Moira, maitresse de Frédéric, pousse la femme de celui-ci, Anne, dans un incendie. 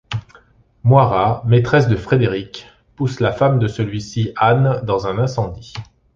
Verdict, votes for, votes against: accepted, 2, 1